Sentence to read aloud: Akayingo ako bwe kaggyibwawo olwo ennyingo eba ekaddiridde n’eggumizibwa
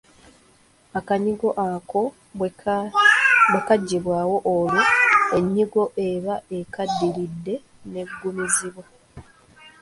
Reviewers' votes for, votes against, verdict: 0, 2, rejected